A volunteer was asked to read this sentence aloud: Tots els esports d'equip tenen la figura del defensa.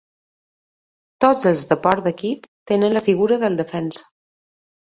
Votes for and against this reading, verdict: 2, 1, accepted